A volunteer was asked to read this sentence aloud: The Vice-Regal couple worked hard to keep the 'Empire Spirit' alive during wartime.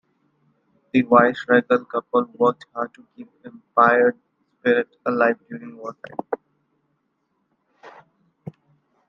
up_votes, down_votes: 1, 2